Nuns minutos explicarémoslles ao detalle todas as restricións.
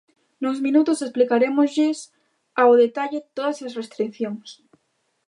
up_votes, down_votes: 1, 2